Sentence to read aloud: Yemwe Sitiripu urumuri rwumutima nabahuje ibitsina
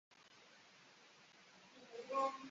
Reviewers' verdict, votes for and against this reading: rejected, 0, 2